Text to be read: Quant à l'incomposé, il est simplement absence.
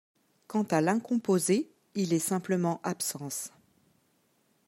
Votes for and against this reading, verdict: 2, 0, accepted